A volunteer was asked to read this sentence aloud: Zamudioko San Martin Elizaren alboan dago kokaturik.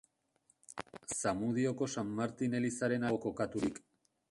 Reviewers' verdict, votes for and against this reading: rejected, 0, 2